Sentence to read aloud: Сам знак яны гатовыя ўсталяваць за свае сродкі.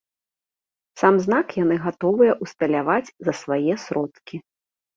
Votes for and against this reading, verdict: 2, 0, accepted